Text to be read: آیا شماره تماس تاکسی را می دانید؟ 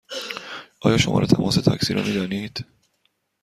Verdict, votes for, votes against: accepted, 2, 0